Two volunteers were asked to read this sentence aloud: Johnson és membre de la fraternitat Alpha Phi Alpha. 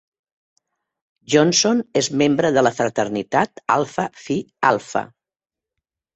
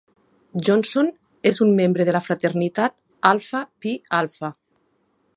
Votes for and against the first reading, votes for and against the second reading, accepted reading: 3, 0, 2, 3, first